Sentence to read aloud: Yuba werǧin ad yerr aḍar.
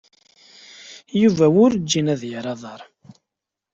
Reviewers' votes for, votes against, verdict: 2, 0, accepted